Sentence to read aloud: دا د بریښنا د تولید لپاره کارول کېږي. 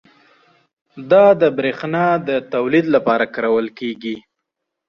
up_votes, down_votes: 2, 0